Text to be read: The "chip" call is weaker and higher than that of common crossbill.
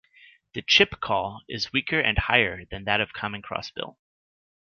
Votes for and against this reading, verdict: 2, 0, accepted